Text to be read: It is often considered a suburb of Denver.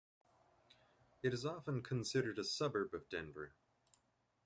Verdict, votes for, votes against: rejected, 1, 2